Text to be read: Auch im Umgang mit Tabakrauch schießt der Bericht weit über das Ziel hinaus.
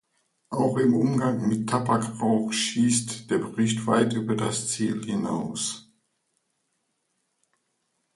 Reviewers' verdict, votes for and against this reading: accepted, 2, 0